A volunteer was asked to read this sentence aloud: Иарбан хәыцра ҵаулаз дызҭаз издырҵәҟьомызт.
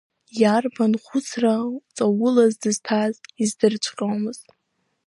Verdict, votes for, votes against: accepted, 4, 0